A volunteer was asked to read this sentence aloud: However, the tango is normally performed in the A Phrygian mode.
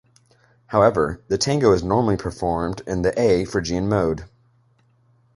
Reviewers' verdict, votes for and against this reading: accepted, 2, 0